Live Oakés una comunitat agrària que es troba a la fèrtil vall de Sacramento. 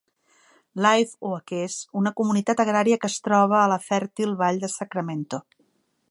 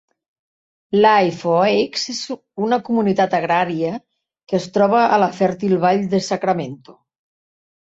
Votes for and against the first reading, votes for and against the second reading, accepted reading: 4, 0, 0, 2, first